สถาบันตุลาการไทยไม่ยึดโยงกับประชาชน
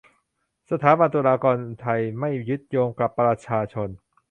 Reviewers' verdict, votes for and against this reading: rejected, 0, 3